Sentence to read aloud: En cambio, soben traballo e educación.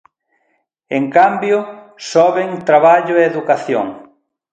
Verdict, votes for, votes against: accepted, 2, 1